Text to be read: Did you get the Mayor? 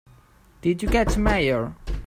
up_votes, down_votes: 0, 2